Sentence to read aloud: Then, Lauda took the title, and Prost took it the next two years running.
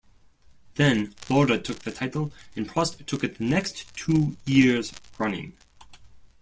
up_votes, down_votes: 0, 2